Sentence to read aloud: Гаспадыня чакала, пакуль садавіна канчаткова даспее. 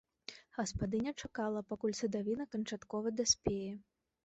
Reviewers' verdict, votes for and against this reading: accepted, 2, 0